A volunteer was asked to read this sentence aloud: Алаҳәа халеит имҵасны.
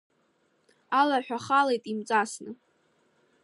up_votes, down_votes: 2, 0